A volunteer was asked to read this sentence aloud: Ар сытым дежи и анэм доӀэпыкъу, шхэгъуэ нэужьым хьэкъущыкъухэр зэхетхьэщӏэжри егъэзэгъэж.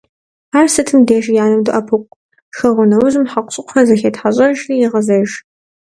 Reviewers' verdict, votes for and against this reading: rejected, 1, 2